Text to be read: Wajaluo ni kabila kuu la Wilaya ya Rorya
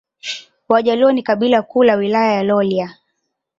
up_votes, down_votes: 2, 0